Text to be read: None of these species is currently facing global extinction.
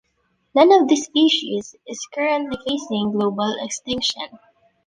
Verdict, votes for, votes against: accepted, 3, 2